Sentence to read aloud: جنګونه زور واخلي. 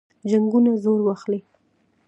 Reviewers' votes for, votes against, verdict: 2, 0, accepted